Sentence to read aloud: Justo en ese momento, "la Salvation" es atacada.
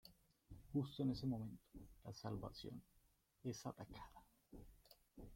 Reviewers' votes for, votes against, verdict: 0, 2, rejected